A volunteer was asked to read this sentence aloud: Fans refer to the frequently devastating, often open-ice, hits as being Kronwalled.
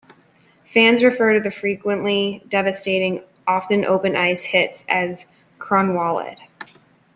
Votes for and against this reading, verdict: 0, 2, rejected